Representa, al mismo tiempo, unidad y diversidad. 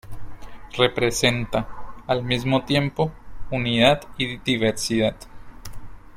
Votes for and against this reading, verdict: 2, 1, accepted